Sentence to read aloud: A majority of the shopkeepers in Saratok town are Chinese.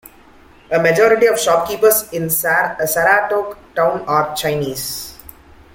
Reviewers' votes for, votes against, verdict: 2, 1, accepted